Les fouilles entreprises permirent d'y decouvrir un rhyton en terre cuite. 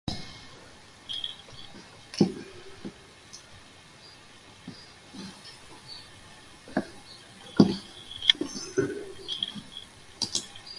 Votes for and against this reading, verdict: 0, 2, rejected